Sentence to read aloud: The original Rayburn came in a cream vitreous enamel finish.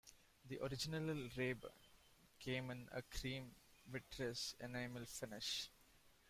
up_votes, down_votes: 0, 2